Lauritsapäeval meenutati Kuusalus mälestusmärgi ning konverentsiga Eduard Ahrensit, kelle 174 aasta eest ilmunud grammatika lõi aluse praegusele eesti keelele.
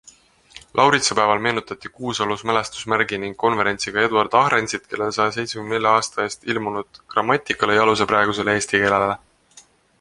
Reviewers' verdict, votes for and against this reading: rejected, 0, 2